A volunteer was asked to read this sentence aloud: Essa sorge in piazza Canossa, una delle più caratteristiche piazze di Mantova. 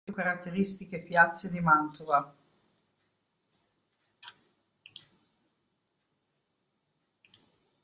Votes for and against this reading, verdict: 0, 2, rejected